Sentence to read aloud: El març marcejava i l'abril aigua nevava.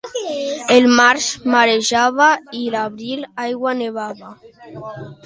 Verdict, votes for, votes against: rejected, 0, 2